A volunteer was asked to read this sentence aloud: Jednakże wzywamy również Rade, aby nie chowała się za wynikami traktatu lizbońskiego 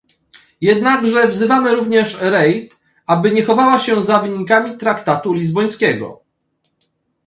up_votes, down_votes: 1, 2